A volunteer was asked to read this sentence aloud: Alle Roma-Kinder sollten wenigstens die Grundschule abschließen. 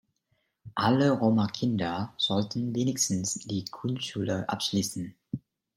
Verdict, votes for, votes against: accepted, 2, 0